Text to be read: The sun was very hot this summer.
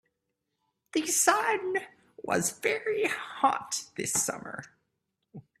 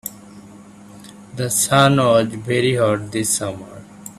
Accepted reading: first